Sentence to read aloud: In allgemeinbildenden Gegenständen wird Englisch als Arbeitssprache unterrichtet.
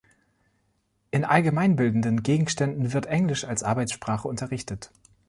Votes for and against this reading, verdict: 2, 0, accepted